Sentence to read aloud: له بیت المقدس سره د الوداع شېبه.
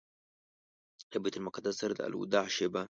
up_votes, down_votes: 2, 0